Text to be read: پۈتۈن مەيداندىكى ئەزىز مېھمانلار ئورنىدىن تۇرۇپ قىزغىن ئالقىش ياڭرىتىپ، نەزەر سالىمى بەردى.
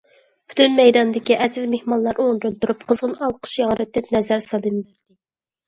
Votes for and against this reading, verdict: 0, 2, rejected